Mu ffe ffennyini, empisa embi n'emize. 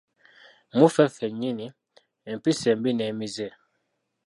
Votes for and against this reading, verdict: 2, 1, accepted